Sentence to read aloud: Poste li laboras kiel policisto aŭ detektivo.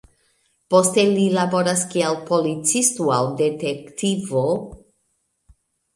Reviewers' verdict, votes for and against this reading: rejected, 0, 2